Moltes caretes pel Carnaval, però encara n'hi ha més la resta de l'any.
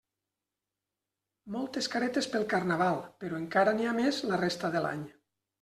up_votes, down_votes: 3, 0